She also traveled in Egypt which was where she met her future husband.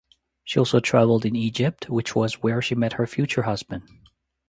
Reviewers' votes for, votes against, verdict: 2, 0, accepted